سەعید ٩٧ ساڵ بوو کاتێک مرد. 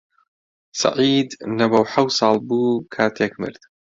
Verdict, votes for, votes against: rejected, 0, 2